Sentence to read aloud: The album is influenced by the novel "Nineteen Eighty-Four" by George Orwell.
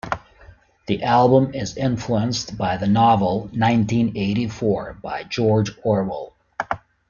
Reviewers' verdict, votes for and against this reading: accepted, 2, 0